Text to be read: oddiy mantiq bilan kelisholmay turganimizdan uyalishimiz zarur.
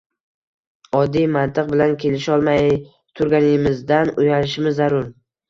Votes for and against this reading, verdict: 1, 2, rejected